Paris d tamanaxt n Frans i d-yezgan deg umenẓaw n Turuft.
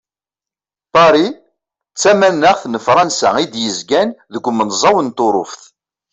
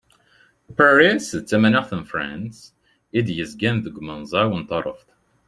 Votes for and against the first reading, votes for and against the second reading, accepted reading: 2, 0, 0, 2, first